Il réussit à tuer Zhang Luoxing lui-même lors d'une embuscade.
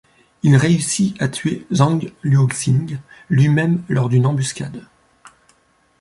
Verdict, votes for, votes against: rejected, 1, 2